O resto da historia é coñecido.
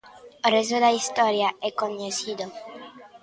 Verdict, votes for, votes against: rejected, 1, 2